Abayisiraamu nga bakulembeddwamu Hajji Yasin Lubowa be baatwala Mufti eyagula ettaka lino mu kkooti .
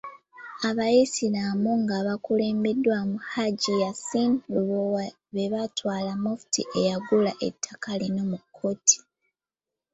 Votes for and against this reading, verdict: 2, 1, accepted